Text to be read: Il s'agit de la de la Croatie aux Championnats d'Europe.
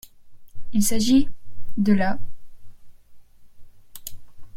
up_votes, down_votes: 0, 2